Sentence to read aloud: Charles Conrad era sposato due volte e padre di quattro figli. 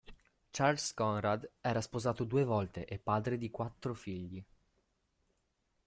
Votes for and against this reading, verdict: 2, 0, accepted